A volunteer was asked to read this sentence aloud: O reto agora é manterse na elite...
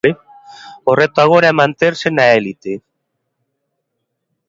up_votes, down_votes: 2, 0